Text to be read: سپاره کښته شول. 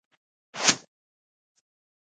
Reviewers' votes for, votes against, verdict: 1, 2, rejected